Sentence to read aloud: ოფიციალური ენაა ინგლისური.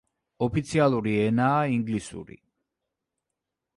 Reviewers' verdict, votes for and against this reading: accepted, 2, 0